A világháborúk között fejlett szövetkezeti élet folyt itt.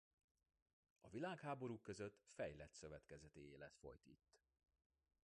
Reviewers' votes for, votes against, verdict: 2, 0, accepted